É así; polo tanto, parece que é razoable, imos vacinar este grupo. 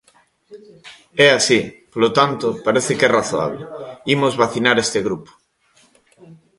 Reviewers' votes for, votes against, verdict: 2, 1, accepted